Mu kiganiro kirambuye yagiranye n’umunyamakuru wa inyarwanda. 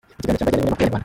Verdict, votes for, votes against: rejected, 0, 2